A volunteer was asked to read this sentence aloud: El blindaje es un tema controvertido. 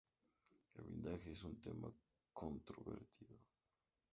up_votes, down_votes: 0, 2